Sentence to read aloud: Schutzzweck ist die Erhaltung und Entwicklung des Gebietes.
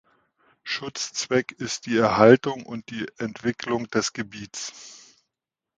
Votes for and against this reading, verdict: 2, 3, rejected